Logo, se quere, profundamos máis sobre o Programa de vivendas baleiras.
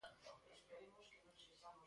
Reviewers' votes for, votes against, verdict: 0, 2, rejected